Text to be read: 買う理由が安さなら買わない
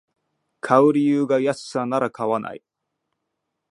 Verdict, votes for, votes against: rejected, 1, 2